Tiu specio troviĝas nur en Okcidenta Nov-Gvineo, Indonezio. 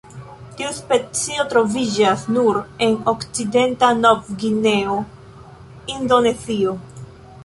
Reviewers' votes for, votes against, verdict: 1, 2, rejected